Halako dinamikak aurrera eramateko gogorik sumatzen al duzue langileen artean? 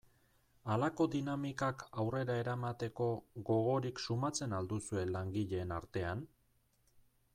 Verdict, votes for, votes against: accepted, 2, 0